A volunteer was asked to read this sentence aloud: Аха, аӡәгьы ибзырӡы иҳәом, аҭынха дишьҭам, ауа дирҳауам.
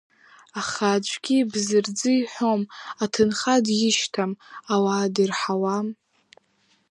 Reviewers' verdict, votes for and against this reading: rejected, 1, 2